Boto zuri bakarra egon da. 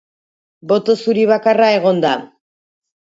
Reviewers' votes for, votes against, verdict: 2, 0, accepted